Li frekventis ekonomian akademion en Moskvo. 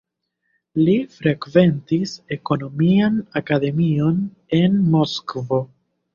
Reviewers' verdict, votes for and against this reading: accepted, 2, 1